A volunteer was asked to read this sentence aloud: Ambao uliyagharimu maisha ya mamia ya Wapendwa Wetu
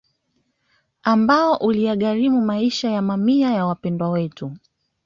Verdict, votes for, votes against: accepted, 2, 1